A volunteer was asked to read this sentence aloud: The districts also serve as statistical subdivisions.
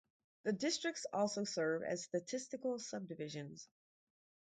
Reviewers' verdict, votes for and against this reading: rejected, 0, 2